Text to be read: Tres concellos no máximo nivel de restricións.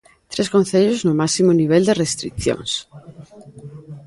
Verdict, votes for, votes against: rejected, 0, 2